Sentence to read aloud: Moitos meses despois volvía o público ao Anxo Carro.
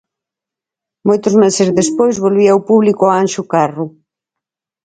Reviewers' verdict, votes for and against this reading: accepted, 4, 0